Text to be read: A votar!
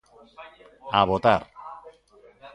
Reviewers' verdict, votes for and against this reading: rejected, 1, 2